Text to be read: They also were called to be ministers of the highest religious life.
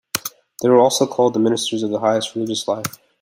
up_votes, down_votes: 1, 2